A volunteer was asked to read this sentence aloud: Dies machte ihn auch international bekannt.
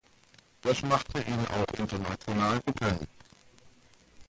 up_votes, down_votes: 1, 2